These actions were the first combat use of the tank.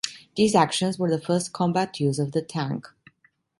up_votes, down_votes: 2, 0